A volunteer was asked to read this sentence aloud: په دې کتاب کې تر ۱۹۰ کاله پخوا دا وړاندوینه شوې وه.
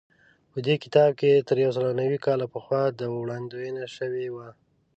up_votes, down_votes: 0, 2